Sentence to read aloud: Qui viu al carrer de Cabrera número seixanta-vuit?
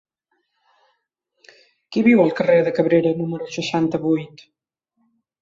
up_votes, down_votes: 3, 0